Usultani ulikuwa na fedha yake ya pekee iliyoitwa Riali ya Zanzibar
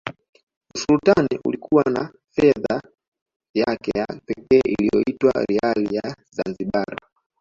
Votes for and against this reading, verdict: 0, 2, rejected